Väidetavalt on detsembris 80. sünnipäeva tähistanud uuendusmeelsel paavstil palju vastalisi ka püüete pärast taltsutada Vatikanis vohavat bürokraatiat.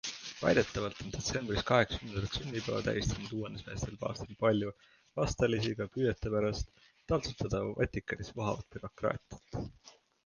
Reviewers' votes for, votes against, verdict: 0, 2, rejected